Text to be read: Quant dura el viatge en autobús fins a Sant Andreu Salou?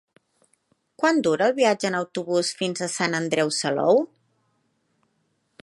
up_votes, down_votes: 2, 0